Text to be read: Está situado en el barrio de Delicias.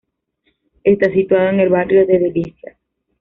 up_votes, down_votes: 1, 2